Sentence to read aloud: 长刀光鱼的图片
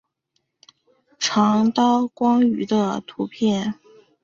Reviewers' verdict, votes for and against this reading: accepted, 2, 1